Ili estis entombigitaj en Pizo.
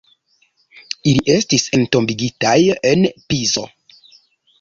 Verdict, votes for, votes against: accepted, 2, 0